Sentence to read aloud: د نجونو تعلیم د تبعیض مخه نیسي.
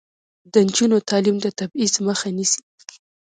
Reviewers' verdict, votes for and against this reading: accepted, 2, 0